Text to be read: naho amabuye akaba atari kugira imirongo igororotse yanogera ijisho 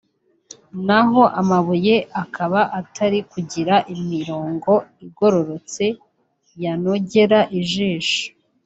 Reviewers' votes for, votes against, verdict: 2, 0, accepted